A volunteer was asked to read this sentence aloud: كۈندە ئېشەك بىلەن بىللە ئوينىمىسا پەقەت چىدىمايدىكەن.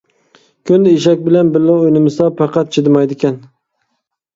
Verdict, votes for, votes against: accepted, 2, 0